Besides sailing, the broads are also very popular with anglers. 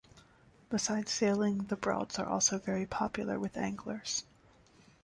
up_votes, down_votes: 2, 0